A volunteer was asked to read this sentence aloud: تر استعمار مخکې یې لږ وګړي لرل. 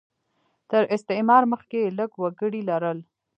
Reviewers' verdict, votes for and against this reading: rejected, 1, 2